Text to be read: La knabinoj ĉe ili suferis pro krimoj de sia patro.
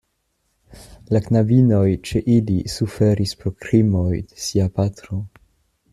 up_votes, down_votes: 1, 2